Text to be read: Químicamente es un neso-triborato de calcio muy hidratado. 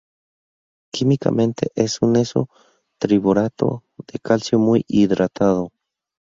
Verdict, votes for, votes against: rejected, 2, 2